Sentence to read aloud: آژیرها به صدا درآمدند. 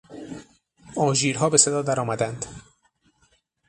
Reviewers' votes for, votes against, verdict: 6, 0, accepted